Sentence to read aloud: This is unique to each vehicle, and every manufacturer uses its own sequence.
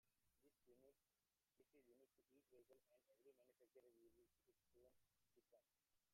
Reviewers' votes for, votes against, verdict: 0, 2, rejected